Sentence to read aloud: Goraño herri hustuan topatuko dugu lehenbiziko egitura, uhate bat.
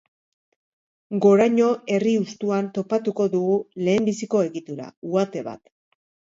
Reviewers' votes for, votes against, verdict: 2, 0, accepted